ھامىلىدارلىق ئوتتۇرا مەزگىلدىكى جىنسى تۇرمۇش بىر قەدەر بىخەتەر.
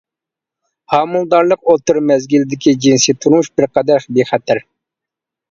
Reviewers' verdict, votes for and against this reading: accepted, 2, 0